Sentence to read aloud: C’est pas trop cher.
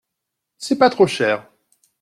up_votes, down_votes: 2, 0